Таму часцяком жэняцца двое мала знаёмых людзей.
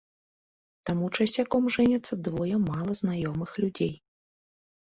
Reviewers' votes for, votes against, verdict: 2, 0, accepted